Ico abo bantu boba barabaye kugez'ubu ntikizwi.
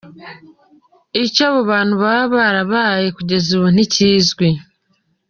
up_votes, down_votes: 2, 0